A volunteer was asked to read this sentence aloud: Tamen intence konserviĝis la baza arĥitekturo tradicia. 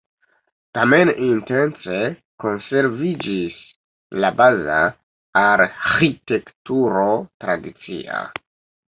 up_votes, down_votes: 2, 0